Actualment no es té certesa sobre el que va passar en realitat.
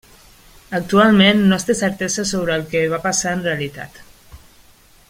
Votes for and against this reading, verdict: 2, 0, accepted